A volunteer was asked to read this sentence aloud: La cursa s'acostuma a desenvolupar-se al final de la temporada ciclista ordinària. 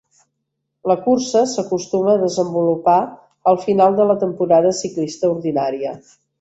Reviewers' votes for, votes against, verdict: 1, 2, rejected